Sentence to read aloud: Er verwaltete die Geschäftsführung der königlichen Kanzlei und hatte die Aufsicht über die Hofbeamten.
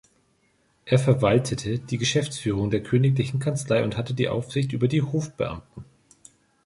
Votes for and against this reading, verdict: 4, 0, accepted